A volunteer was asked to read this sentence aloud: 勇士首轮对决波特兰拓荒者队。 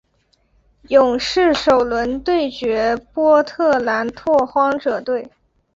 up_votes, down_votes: 2, 0